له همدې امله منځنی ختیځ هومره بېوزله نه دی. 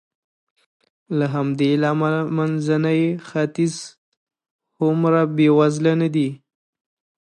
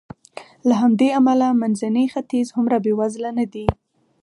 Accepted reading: second